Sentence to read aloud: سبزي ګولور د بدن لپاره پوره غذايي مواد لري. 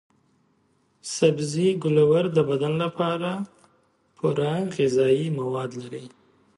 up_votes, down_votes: 2, 0